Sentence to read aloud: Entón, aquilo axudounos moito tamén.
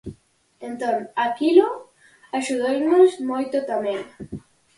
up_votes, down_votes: 4, 0